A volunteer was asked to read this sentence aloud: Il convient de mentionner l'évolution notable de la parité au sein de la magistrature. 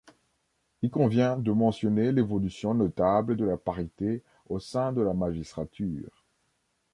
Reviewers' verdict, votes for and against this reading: accepted, 2, 0